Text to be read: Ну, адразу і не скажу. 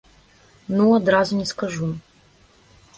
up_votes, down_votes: 1, 2